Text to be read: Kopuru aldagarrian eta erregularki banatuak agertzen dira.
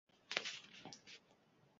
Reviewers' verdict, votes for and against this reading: rejected, 0, 4